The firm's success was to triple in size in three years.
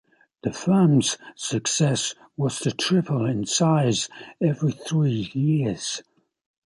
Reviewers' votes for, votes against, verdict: 0, 2, rejected